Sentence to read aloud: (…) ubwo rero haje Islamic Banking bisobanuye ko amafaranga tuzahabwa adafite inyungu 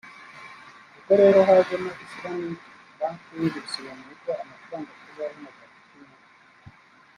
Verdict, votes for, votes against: rejected, 1, 3